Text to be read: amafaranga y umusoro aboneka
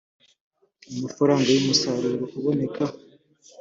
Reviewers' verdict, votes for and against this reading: rejected, 1, 2